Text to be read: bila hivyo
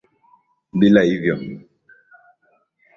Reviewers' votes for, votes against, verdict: 14, 1, accepted